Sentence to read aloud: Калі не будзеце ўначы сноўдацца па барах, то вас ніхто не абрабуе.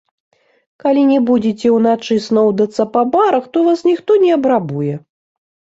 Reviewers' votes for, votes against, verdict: 1, 2, rejected